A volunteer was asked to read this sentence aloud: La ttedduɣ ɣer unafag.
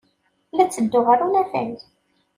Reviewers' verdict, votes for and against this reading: accepted, 2, 0